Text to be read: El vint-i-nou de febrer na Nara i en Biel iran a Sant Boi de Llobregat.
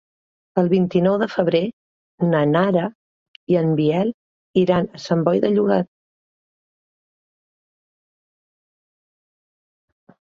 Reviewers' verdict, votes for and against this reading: rejected, 1, 2